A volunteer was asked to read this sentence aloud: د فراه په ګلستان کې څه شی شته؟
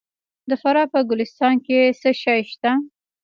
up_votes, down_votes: 0, 2